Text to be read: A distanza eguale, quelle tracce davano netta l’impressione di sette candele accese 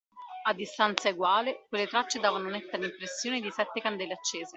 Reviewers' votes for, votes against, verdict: 2, 0, accepted